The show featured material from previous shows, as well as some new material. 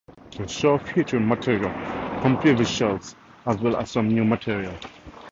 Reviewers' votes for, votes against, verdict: 2, 0, accepted